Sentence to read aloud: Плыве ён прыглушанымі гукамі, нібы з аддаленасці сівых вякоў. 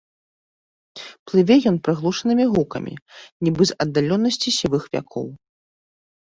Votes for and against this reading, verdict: 0, 2, rejected